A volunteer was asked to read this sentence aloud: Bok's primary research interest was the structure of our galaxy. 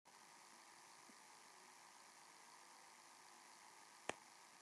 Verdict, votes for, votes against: rejected, 0, 3